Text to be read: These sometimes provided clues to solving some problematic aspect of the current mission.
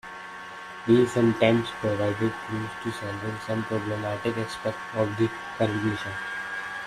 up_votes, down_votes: 0, 2